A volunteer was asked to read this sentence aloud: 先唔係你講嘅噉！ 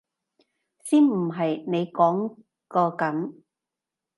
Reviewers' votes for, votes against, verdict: 1, 2, rejected